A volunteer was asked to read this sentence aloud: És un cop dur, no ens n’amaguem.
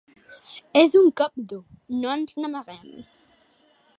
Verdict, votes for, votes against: accepted, 3, 0